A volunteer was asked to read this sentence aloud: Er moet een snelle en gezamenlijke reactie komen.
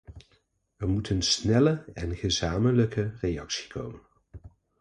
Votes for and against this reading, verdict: 2, 0, accepted